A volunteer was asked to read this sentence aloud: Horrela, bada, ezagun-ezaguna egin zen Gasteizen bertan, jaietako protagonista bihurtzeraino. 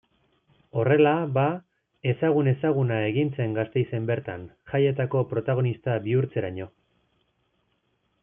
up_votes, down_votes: 2, 3